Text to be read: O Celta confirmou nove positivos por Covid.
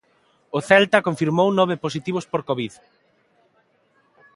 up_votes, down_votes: 2, 1